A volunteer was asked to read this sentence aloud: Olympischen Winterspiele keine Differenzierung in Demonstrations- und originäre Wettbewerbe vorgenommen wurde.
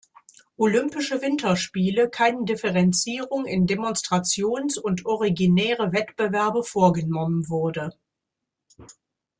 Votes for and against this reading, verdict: 0, 2, rejected